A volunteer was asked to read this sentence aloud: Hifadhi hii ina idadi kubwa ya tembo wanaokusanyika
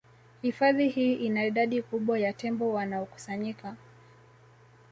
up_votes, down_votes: 2, 0